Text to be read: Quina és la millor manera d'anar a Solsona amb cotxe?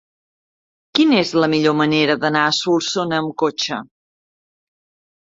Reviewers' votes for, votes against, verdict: 0, 2, rejected